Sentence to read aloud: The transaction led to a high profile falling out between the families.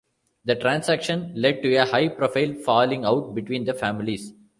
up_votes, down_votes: 2, 0